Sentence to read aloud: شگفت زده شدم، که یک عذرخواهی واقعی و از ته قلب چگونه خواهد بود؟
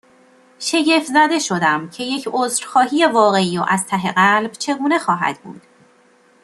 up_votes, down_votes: 2, 0